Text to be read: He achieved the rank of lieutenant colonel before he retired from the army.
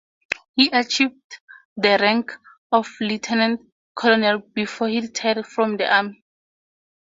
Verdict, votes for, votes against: accepted, 4, 2